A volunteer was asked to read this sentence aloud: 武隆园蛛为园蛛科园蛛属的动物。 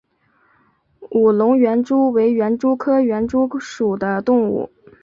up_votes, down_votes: 4, 0